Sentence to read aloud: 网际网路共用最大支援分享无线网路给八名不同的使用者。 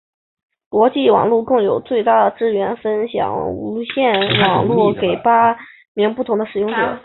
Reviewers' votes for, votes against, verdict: 0, 2, rejected